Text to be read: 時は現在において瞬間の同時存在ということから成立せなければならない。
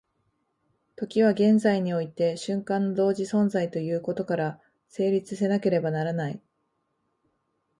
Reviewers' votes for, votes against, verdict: 2, 0, accepted